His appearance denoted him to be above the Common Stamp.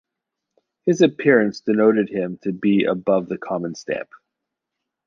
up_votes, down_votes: 2, 0